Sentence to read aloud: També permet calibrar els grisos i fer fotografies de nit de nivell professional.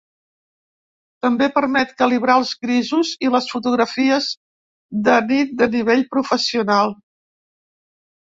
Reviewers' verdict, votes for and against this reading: rejected, 0, 2